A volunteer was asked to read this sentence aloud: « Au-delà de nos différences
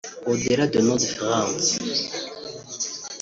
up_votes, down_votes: 0, 2